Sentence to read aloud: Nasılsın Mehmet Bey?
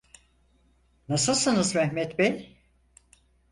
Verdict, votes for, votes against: rejected, 0, 4